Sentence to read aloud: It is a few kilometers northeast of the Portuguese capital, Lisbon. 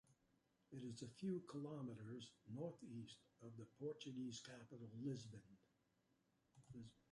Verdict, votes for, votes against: rejected, 1, 2